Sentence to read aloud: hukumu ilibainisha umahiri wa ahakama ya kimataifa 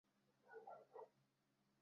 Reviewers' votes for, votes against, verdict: 0, 2, rejected